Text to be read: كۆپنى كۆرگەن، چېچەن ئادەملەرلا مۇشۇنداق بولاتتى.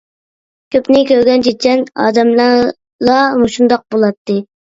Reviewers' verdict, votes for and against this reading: accepted, 2, 0